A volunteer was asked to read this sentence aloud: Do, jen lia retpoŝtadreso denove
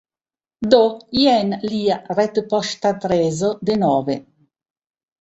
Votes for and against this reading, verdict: 2, 1, accepted